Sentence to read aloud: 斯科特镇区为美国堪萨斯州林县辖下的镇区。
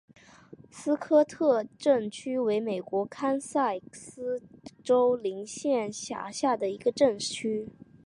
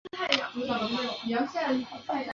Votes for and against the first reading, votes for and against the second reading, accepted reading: 3, 0, 0, 3, first